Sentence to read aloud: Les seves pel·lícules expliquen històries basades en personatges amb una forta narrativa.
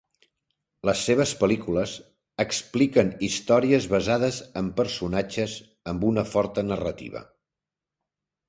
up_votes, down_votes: 3, 0